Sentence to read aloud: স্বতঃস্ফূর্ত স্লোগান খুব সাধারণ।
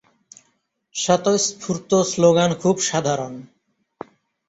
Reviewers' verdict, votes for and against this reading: accepted, 2, 0